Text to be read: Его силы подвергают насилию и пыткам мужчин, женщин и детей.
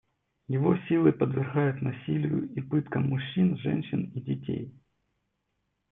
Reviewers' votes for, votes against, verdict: 0, 2, rejected